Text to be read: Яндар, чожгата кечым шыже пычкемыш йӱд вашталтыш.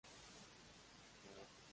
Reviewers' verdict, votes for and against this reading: rejected, 0, 2